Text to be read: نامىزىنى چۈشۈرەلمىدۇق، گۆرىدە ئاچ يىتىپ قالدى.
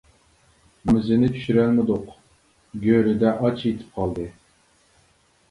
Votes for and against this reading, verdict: 1, 2, rejected